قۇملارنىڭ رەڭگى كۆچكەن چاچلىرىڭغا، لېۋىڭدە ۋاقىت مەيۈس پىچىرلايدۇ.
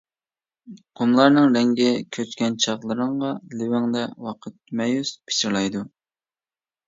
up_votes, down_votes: 0, 2